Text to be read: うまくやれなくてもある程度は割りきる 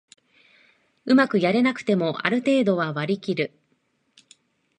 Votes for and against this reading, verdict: 2, 0, accepted